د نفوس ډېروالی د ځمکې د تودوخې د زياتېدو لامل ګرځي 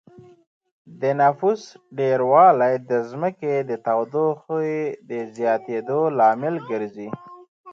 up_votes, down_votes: 1, 2